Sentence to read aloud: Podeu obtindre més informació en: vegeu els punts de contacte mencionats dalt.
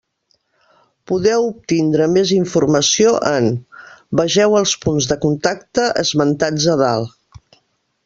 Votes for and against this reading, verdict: 0, 2, rejected